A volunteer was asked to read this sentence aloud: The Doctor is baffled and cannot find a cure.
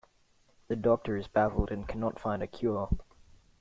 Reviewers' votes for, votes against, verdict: 2, 0, accepted